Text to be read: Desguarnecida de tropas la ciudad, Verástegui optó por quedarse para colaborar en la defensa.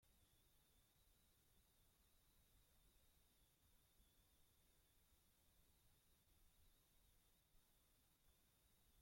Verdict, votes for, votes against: rejected, 0, 2